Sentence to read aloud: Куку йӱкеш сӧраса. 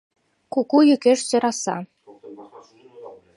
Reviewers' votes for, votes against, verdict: 0, 2, rejected